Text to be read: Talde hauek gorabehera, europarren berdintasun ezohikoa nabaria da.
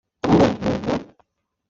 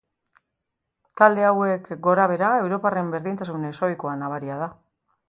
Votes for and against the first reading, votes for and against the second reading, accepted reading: 0, 2, 3, 1, second